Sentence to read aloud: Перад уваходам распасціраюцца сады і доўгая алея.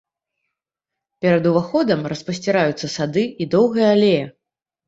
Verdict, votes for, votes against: accepted, 2, 0